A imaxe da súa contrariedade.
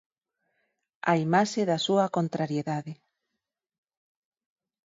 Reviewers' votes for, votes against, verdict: 4, 0, accepted